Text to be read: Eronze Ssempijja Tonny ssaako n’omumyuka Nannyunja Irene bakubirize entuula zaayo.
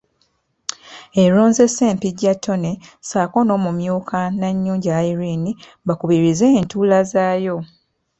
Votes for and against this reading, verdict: 2, 0, accepted